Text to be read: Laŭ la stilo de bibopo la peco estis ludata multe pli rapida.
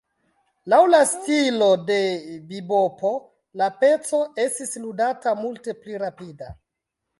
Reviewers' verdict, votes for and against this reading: accepted, 2, 0